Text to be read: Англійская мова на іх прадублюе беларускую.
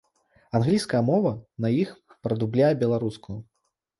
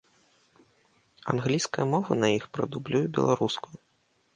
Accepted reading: second